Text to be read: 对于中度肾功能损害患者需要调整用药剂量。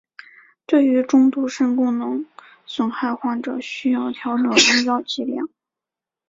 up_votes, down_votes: 2, 0